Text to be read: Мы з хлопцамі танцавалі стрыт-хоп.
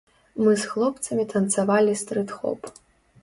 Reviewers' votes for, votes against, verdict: 2, 0, accepted